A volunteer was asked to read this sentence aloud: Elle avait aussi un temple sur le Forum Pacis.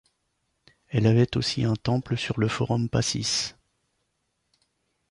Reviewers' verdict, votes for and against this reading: accepted, 2, 0